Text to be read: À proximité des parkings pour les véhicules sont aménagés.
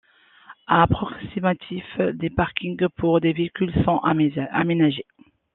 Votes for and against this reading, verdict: 0, 2, rejected